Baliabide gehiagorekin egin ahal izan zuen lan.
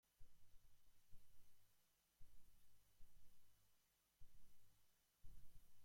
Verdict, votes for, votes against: rejected, 0, 2